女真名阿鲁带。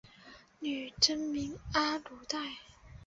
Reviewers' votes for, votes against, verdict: 4, 1, accepted